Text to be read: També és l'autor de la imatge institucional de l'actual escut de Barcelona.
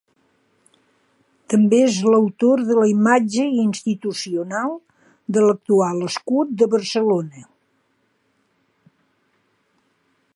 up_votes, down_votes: 2, 0